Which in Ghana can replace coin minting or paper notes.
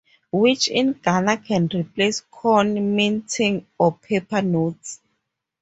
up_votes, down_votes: 0, 2